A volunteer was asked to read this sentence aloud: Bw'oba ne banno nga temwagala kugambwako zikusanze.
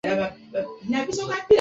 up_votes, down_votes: 0, 2